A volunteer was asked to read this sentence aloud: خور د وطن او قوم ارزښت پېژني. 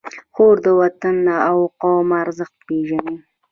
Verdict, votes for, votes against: rejected, 1, 2